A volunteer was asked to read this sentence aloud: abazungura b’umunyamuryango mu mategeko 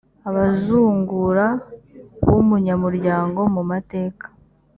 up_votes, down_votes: 0, 3